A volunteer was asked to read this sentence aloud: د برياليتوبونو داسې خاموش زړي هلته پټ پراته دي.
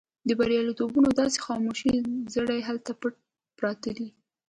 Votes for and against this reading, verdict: 3, 0, accepted